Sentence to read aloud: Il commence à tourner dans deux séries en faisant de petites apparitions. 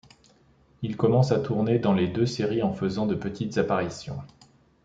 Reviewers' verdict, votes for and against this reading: rejected, 0, 2